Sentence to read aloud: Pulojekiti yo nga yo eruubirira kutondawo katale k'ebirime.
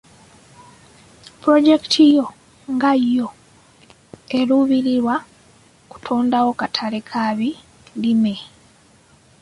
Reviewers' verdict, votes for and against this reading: rejected, 0, 2